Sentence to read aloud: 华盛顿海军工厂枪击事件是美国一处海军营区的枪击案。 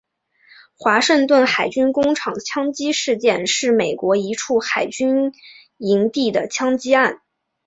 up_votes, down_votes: 1, 3